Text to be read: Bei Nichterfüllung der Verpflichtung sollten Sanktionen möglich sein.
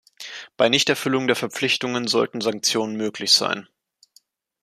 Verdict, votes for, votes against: rejected, 0, 2